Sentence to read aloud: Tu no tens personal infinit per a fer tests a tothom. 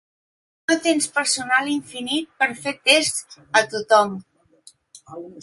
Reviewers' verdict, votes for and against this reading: rejected, 0, 2